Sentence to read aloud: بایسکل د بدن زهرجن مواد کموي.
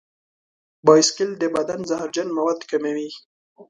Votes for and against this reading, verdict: 2, 0, accepted